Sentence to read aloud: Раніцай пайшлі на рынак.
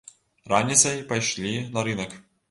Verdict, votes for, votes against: accepted, 2, 0